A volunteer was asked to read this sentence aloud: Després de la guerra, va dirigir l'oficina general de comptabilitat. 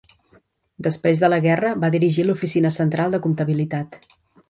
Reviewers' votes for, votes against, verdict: 1, 2, rejected